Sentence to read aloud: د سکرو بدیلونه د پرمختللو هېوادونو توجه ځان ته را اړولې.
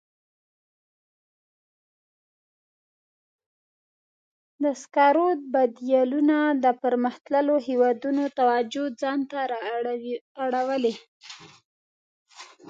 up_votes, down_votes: 1, 2